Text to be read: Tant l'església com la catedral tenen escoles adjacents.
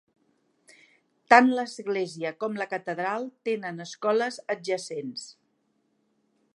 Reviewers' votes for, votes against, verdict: 4, 0, accepted